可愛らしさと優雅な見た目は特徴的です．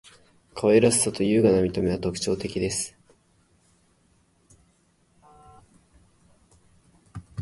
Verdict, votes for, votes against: accepted, 5, 0